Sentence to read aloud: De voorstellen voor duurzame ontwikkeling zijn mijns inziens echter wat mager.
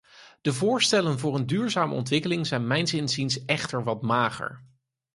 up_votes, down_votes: 2, 4